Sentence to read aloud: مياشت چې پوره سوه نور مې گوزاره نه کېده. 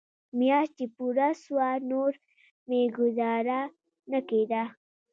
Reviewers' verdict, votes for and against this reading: accepted, 2, 0